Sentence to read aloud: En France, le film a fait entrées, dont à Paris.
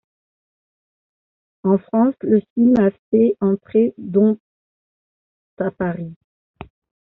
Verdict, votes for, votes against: rejected, 1, 2